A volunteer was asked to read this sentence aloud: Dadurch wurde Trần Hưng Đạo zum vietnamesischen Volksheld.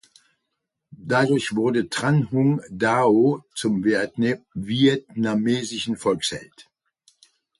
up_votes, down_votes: 0, 2